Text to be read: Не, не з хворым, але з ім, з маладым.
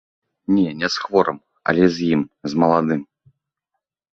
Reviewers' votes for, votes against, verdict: 2, 0, accepted